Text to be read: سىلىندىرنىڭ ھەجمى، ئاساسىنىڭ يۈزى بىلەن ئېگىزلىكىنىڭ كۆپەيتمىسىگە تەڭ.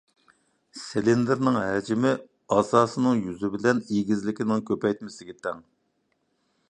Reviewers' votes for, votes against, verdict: 2, 0, accepted